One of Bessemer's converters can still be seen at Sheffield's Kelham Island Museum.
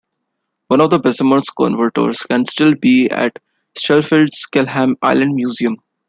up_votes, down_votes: 0, 2